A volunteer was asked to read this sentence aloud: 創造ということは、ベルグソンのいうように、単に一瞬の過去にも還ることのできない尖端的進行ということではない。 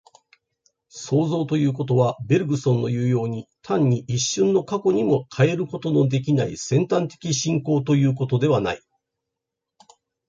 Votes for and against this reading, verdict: 2, 0, accepted